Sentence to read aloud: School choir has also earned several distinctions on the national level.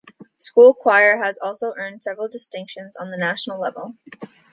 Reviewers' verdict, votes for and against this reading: accepted, 2, 0